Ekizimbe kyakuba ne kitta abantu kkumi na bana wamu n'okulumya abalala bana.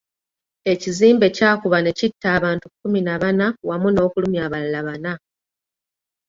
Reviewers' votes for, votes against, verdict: 2, 0, accepted